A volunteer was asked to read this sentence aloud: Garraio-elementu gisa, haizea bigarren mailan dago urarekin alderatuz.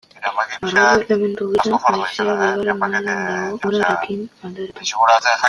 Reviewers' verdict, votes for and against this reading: rejected, 0, 2